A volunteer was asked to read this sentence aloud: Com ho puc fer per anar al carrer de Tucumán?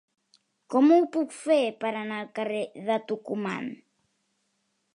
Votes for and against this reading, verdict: 3, 0, accepted